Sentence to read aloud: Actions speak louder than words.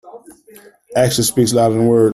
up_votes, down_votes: 0, 2